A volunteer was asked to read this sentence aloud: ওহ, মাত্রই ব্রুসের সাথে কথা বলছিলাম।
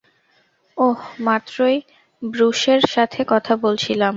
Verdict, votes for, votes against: accepted, 2, 0